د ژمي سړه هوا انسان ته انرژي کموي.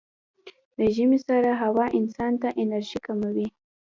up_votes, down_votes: 2, 0